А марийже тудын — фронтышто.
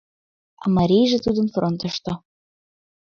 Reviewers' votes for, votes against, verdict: 2, 0, accepted